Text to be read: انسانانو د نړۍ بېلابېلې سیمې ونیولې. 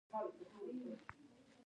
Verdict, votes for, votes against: rejected, 0, 2